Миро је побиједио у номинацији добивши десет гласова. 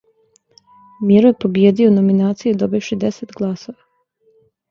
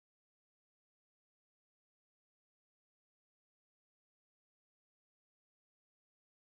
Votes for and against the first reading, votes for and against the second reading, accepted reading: 2, 0, 0, 2, first